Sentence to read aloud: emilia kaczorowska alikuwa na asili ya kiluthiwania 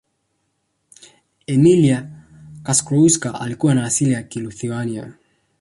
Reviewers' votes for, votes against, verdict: 1, 2, rejected